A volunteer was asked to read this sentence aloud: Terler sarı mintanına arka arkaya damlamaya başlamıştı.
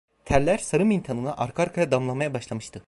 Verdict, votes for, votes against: accepted, 2, 0